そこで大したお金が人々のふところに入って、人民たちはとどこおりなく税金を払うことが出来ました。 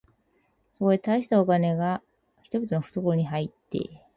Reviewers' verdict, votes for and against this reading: rejected, 0, 4